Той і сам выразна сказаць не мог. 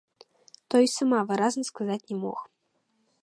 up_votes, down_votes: 0, 2